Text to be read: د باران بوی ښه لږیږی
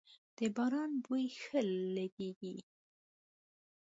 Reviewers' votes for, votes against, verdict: 1, 2, rejected